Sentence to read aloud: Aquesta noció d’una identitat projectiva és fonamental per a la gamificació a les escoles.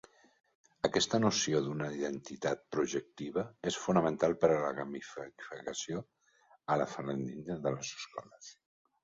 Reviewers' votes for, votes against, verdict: 0, 2, rejected